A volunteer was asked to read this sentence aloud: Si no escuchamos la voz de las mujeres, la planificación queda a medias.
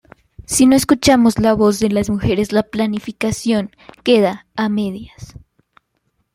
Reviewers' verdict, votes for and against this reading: accepted, 2, 0